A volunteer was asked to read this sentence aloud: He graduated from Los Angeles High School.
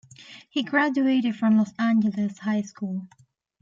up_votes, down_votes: 2, 0